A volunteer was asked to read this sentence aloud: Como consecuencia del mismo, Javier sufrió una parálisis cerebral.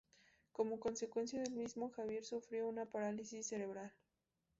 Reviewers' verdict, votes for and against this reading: rejected, 0, 2